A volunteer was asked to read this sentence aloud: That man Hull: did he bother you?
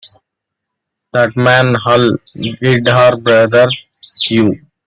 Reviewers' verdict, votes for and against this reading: rejected, 1, 2